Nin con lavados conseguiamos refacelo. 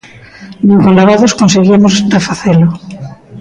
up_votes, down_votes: 0, 2